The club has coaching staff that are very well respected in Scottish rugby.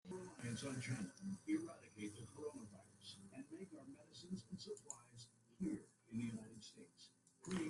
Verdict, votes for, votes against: rejected, 0, 2